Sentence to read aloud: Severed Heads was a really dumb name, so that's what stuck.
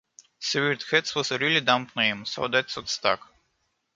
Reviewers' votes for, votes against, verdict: 2, 0, accepted